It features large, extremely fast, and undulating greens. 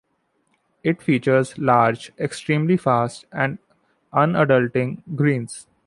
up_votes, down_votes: 2, 0